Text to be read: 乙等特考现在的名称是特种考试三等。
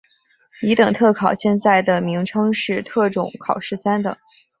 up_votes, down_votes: 3, 0